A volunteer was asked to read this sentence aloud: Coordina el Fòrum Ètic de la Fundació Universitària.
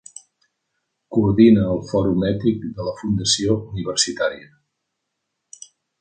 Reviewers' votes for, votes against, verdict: 1, 2, rejected